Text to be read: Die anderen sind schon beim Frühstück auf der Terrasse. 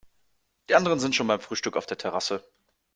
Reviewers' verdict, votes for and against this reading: accepted, 3, 0